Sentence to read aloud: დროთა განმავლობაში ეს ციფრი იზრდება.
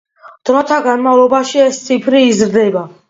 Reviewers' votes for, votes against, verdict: 2, 0, accepted